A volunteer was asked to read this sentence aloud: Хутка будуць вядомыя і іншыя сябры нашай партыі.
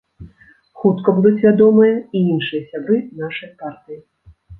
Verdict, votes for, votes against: accepted, 2, 1